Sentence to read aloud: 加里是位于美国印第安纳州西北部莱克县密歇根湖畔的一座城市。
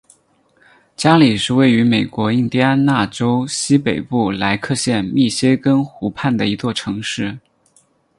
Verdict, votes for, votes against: rejected, 2, 2